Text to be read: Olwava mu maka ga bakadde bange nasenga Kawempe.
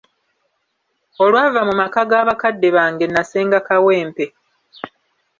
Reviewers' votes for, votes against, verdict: 3, 0, accepted